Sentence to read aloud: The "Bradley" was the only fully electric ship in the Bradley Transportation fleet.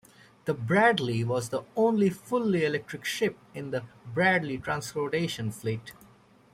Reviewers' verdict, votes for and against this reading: accepted, 3, 0